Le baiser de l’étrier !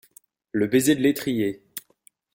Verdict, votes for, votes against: accepted, 2, 0